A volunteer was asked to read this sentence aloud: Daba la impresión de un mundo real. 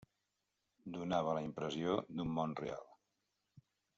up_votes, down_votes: 0, 2